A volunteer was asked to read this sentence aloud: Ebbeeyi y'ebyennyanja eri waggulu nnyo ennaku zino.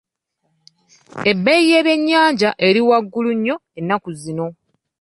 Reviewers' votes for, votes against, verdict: 2, 0, accepted